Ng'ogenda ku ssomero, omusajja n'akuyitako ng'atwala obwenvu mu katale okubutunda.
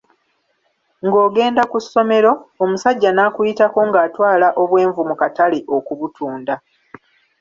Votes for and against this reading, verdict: 2, 0, accepted